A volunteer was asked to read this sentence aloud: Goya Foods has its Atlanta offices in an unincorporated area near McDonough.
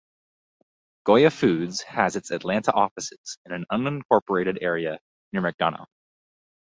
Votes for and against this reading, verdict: 2, 2, rejected